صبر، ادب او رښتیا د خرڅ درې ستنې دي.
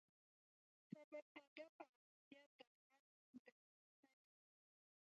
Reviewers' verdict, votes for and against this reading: rejected, 0, 2